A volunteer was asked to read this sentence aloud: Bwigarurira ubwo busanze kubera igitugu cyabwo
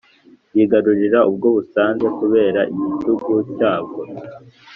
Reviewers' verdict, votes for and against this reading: accepted, 2, 0